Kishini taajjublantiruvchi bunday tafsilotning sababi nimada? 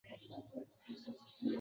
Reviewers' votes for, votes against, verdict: 0, 3, rejected